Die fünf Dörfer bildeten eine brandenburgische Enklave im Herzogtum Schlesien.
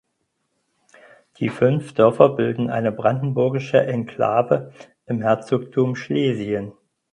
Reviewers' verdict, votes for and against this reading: rejected, 0, 4